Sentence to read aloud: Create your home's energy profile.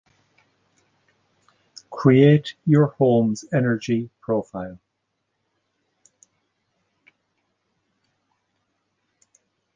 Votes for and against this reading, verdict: 4, 0, accepted